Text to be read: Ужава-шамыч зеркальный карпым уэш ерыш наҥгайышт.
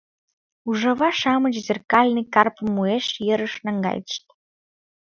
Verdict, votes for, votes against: accepted, 2, 0